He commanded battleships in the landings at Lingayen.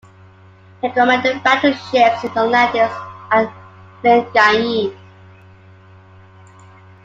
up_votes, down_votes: 0, 2